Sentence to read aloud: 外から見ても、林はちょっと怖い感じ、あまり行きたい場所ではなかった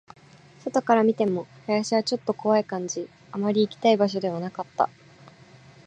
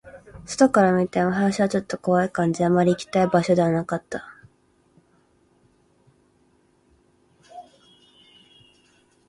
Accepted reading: first